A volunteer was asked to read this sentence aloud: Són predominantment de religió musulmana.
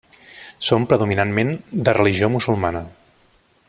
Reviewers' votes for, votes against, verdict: 1, 2, rejected